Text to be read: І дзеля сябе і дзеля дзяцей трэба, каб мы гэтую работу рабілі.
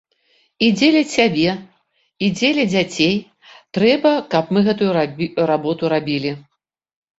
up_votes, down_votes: 0, 2